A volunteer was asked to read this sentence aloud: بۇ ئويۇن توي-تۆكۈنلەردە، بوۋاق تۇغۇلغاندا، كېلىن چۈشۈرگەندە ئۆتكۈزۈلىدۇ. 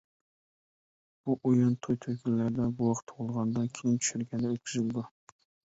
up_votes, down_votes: 0, 2